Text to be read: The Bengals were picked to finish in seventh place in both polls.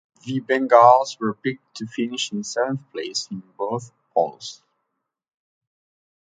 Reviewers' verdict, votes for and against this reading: accepted, 2, 0